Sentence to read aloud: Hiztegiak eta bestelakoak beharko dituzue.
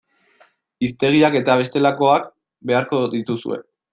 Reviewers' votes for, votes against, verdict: 2, 0, accepted